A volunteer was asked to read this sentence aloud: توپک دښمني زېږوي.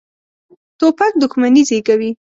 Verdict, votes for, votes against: accepted, 2, 0